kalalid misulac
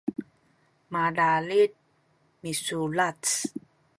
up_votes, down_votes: 2, 1